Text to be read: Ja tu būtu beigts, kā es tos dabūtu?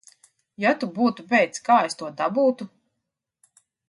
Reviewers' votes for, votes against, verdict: 1, 2, rejected